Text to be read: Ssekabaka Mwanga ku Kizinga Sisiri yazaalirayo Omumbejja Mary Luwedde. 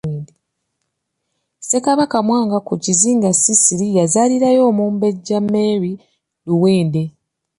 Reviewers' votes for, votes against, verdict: 0, 2, rejected